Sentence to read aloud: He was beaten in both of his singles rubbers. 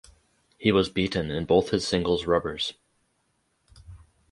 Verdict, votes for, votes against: rejected, 2, 2